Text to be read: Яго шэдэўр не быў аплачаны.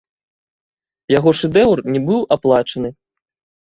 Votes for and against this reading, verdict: 1, 2, rejected